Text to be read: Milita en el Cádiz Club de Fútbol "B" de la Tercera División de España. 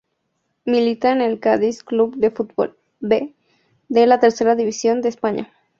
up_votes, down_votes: 2, 0